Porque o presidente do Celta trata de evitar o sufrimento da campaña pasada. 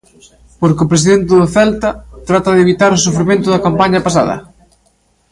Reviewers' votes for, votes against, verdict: 2, 0, accepted